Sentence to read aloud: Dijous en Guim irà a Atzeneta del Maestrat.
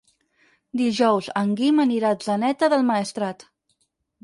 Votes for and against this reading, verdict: 2, 4, rejected